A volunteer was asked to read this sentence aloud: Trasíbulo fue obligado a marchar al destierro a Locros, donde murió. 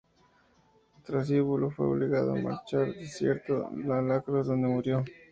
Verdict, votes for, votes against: rejected, 0, 4